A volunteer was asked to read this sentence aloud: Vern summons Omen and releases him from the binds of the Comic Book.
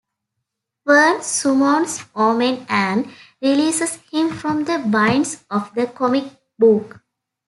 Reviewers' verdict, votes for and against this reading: rejected, 0, 2